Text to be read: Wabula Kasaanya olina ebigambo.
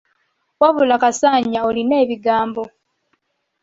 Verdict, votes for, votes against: rejected, 1, 2